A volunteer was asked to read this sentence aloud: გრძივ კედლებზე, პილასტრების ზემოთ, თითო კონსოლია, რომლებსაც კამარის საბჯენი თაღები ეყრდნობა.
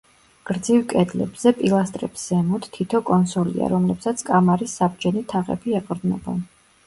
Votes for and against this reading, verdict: 2, 0, accepted